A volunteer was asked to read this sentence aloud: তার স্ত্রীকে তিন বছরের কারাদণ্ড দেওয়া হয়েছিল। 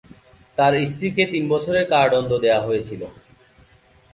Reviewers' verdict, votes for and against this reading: rejected, 2, 2